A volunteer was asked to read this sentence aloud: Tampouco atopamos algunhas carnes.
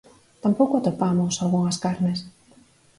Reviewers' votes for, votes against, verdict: 4, 0, accepted